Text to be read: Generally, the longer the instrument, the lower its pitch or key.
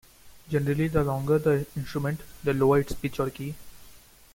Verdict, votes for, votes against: rejected, 0, 2